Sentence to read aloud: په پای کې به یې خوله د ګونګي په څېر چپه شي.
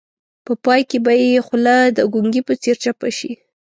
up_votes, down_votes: 2, 0